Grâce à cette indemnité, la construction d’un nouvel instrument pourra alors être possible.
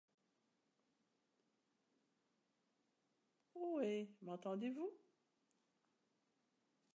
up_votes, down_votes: 0, 2